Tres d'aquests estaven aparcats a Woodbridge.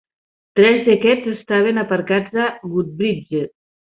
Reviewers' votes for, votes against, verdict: 1, 2, rejected